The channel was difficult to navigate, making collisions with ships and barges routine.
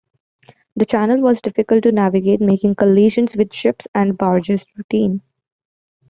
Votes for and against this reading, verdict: 2, 0, accepted